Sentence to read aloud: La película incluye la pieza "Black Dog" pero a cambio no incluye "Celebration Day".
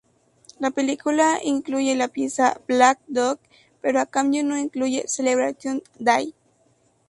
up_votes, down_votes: 2, 0